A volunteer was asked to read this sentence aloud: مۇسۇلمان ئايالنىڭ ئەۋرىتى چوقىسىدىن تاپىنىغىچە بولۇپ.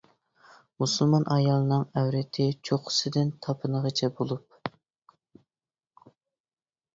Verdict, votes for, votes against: accepted, 2, 0